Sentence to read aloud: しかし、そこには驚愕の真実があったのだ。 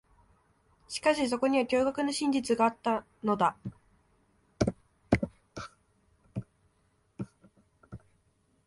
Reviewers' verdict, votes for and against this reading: accepted, 2, 0